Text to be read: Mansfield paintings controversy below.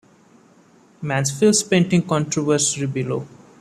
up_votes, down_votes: 0, 2